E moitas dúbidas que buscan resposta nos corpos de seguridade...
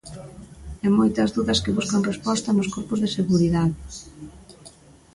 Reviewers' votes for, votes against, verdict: 0, 2, rejected